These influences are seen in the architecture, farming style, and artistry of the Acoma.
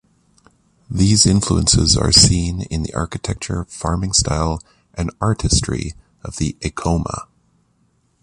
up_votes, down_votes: 2, 0